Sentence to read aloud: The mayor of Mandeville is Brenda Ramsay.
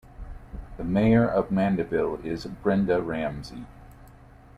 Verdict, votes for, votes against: accepted, 2, 1